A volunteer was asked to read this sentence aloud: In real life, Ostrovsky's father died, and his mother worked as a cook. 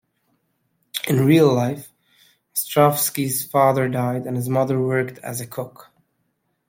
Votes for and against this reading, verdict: 2, 0, accepted